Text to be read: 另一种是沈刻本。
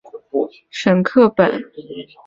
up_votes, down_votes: 1, 2